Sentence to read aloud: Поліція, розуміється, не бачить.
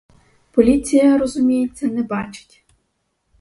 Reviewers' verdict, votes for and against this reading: rejected, 2, 2